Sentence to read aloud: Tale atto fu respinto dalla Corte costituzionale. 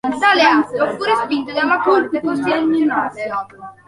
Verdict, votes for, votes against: rejected, 0, 2